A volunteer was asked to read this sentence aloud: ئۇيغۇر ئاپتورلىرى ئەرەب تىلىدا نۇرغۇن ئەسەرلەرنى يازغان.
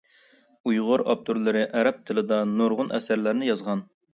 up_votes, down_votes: 2, 0